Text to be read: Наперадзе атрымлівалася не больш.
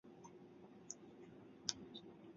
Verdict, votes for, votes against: rejected, 0, 2